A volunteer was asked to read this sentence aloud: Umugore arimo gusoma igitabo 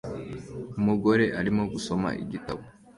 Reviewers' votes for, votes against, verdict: 2, 1, accepted